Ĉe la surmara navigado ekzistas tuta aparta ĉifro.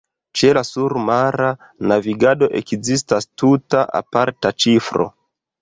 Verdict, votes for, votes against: rejected, 0, 2